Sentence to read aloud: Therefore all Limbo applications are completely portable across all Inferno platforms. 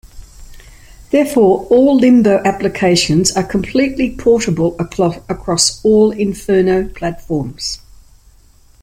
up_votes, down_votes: 0, 2